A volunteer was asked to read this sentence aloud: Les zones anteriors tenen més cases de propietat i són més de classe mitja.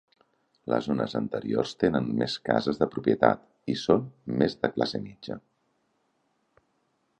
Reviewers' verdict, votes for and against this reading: accepted, 4, 0